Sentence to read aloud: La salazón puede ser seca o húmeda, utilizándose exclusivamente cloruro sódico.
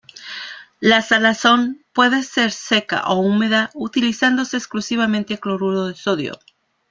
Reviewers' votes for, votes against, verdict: 0, 2, rejected